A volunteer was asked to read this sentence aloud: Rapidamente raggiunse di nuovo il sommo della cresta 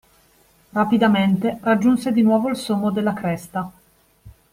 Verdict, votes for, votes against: accepted, 2, 0